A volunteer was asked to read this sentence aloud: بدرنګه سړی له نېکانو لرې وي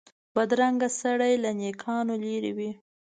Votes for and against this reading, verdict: 2, 0, accepted